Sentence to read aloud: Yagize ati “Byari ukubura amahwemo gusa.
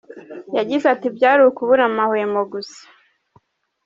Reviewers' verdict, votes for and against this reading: accepted, 2, 0